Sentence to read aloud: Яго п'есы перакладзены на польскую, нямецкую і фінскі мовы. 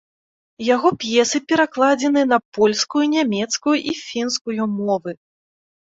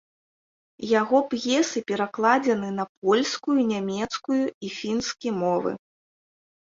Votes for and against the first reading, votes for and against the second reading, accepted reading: 0, 2, 2, 0, second